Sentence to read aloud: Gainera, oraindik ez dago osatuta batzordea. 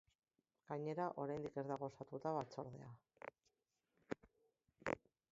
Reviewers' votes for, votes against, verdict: 1, 3, rejected